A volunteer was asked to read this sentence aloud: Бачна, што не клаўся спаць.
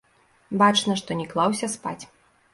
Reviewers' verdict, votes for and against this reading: rejected, 1, 2